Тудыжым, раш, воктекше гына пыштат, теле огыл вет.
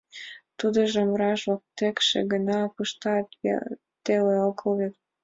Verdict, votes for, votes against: accepted, 2, 0